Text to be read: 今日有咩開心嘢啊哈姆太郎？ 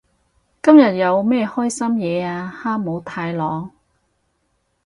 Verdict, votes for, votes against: accepted, 4, 0